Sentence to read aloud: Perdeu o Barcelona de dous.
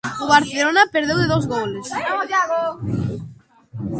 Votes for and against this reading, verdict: 0, 2, rejected